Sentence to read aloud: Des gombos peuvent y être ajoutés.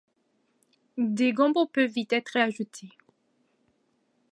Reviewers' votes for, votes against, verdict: 2, 0, accepted